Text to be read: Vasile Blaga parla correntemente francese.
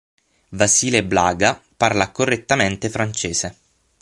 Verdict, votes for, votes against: accepted, 6, 0